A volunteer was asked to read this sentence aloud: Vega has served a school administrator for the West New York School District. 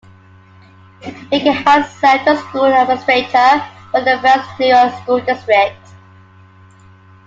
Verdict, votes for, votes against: accepted, 2, 0